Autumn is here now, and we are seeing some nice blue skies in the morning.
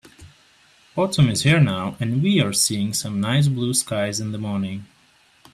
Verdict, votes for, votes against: accepted, 3, 0